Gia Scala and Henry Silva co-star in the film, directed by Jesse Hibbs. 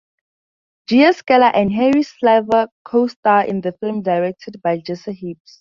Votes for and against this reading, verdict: 0, 4, rejected